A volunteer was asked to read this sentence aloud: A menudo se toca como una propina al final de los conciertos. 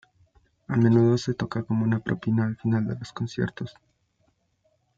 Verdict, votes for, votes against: accepted, 2, 0